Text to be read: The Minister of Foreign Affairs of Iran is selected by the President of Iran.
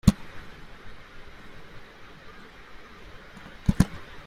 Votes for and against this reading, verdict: 0, 2, rejected